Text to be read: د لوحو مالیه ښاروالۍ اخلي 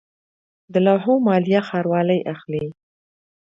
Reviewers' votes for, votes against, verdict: 2, 0, accepted